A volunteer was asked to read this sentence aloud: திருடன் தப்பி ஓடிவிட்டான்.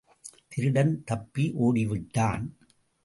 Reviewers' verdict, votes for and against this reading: accepted, 2, 0